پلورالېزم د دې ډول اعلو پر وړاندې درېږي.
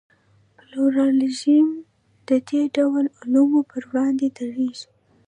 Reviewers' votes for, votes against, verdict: 2, 0, accepted